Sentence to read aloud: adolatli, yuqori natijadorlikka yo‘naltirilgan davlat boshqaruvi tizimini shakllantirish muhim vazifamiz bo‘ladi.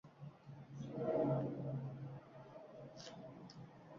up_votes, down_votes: 1, 2